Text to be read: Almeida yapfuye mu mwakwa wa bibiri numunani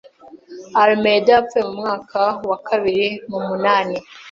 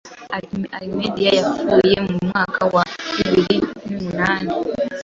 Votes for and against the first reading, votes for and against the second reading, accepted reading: 1, 2, 2, 0, second